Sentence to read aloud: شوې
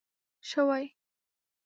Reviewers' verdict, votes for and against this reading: rejected, 1, 2